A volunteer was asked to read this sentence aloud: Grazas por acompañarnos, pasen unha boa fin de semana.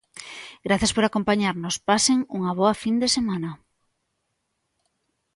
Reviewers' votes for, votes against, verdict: 2, 0, accepted